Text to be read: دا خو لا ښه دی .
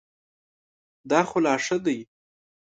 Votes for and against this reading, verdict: 2, 0, accepted